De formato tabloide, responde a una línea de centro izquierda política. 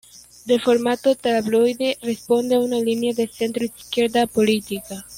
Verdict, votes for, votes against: accepted, 2, 0